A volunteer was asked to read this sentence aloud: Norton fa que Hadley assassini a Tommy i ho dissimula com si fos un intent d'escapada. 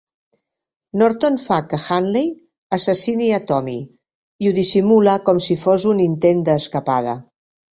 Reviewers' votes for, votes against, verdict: 2, 0, accepted